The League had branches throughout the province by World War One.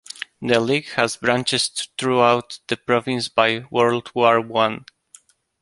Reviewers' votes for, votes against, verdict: 0, 2, rejected